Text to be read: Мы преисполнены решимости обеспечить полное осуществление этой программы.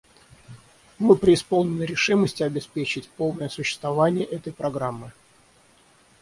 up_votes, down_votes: 3, 6